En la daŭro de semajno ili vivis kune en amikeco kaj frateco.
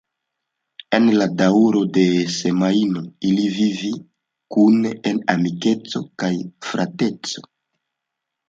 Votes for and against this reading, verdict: 1, 2, rejected